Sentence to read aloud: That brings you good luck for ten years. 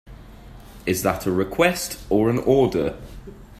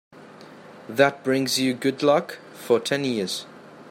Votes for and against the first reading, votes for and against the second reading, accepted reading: 0, 2, 2, 0, second